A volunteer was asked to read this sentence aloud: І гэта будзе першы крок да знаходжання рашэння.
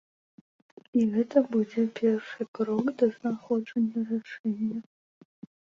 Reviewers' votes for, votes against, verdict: 1, 2, rejected